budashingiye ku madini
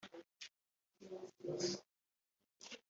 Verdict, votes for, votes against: rejected, 0, 2